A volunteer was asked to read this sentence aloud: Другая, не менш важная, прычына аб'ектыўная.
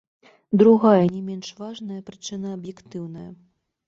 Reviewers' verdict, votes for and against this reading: accepted, 2, 1